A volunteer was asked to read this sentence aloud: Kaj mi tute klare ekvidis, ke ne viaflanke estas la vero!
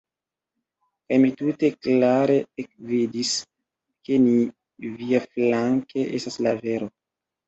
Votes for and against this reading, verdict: 1, 2, rejected